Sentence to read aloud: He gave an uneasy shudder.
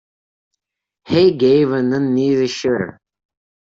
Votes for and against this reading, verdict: 1, 2, rejected